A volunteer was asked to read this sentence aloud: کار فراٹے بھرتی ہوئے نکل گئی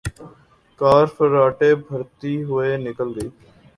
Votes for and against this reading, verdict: 2, 0, accepted